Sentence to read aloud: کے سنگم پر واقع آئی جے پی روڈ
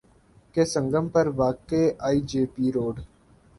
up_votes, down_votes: 2, 0